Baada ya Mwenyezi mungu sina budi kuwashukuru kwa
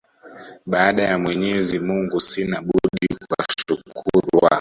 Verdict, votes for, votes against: accepted, 2, 0